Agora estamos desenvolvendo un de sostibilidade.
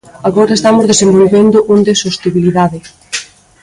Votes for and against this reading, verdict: 0, 2, rejected